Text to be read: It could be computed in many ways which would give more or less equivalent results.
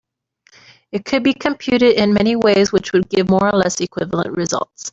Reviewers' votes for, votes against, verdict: 0, 2, rejected